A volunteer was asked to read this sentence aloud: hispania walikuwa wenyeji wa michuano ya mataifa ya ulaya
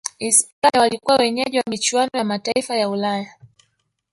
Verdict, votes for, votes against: rejected, 1, 2